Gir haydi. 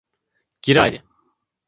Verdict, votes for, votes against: rejected, 1, 2